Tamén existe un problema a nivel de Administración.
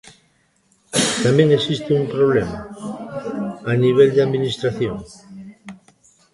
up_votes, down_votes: 0, 2